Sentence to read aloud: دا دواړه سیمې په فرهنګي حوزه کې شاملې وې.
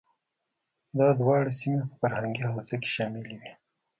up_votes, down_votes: 2, 1